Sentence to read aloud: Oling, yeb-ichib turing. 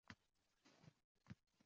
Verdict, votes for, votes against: rejected, 0, 2